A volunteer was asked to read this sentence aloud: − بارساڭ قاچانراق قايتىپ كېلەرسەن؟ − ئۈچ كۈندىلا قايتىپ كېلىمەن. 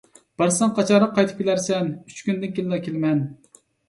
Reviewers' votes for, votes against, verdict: 1, 2, rejected